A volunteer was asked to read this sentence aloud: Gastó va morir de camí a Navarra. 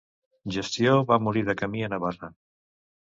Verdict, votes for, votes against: rejected, 0, 2